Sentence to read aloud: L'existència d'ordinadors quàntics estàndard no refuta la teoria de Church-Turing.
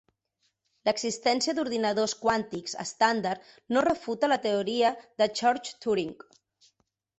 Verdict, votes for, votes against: accepted, 2, 0